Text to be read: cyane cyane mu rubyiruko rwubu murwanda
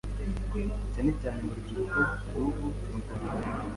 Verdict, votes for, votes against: rejected, 1, 2